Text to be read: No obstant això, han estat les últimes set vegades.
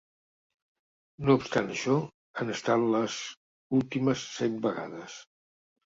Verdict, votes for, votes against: rejected, 0, 2